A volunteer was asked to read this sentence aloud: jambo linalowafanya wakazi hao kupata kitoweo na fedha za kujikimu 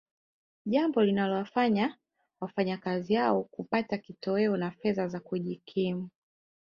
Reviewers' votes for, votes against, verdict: 4, 0, accepted